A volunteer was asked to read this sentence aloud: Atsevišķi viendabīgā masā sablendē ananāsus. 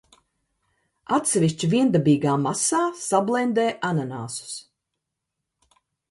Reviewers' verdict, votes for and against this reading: accepted, 2, 0